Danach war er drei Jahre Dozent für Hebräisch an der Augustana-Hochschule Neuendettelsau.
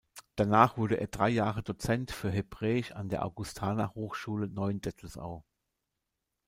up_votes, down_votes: 0, 2